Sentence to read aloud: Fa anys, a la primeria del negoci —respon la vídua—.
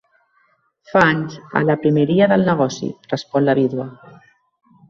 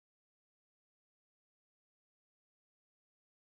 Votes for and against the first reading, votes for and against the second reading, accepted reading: 2, 0, 1, 2, first